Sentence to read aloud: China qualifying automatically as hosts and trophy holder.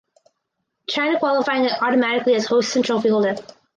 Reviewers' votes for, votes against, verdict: 2, 2, rejected